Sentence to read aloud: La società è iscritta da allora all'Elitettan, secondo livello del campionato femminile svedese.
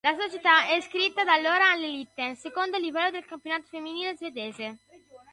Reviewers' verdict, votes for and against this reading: rejected, 0, 2